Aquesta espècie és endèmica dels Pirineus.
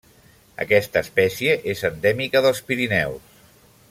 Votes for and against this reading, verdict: 2, 0, accepted